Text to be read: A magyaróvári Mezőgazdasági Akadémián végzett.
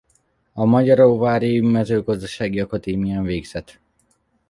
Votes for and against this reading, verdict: 1, 2, rejected